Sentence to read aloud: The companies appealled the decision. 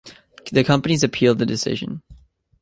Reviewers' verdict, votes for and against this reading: accepted, 2, 0